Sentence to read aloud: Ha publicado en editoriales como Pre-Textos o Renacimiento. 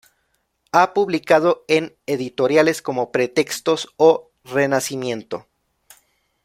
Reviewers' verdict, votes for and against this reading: accepted, 2, 0